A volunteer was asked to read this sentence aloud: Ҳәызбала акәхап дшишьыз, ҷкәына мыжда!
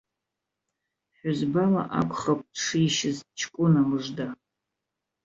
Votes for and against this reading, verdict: 2, 0, accepted